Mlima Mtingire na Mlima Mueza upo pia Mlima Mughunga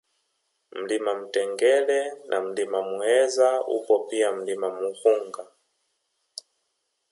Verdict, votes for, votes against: accepted, 2, 0